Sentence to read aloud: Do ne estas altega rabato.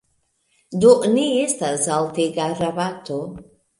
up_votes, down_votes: 2, 0